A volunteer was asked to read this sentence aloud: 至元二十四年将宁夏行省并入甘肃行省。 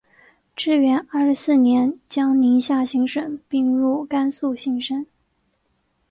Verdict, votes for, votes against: accepted, 3, 0